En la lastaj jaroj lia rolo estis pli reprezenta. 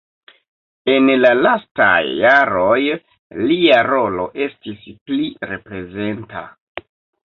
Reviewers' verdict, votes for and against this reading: rejected, 0, 2